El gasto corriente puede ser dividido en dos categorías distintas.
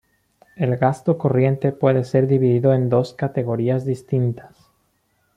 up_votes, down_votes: 2, 0